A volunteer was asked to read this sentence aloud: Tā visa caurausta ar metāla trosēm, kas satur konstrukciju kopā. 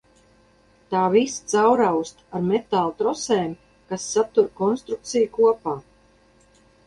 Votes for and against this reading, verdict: 2, 0, accepted